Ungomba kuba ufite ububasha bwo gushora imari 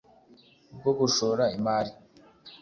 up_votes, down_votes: 0, 2